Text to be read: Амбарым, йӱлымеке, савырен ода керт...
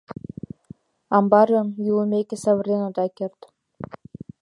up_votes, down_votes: 2, 0